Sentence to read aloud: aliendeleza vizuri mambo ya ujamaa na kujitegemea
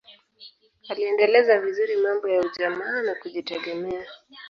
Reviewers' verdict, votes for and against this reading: accepted, 2, 0